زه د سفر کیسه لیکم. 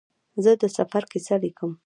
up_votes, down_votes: 2, 0